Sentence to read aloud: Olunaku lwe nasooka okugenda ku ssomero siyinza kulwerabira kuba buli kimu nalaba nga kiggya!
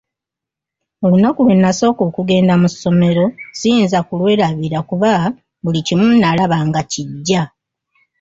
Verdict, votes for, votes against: rejected, 1, 2